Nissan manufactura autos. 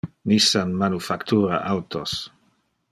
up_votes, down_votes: 2, 0